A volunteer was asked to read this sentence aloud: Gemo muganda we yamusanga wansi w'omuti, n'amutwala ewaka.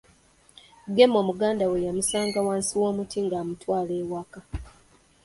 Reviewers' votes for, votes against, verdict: 0, 2, rejected